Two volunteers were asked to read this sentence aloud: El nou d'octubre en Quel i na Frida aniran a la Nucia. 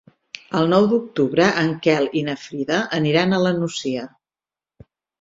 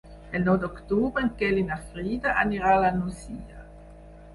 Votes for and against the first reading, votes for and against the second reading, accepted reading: 6, 0, 2, 4, first